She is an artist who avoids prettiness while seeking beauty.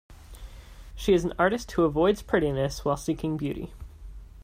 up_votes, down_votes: 2, 0